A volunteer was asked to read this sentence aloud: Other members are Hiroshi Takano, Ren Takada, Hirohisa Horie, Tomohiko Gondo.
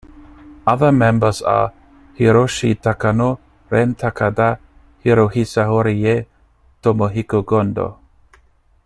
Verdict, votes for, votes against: rejected, 1, 2